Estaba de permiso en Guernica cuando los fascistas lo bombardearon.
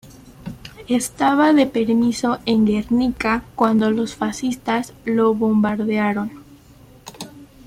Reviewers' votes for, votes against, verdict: 2, 1, accepted